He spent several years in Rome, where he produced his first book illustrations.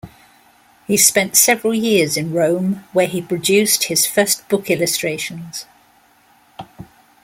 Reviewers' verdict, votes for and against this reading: accepted, 2, 0